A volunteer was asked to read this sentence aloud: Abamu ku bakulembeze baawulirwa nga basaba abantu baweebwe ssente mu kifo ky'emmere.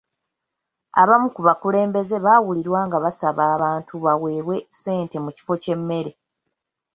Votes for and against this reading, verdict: 2, 0, accepted